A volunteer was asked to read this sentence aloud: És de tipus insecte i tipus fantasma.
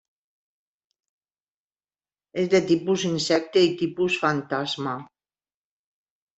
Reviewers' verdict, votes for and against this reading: accepted, 3, 0